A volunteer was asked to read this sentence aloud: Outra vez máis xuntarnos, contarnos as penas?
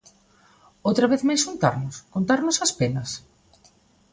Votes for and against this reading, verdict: 2, 0, accepted